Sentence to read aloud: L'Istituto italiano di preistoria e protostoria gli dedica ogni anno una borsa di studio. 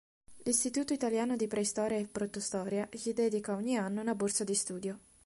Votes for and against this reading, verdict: 2, 0, accepted